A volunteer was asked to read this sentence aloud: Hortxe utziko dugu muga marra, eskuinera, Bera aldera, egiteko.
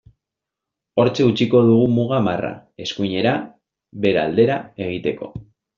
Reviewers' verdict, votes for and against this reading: accepted, 2, 1